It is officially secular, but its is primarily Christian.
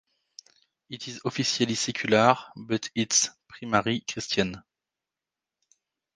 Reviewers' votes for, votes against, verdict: 1, 2, rejected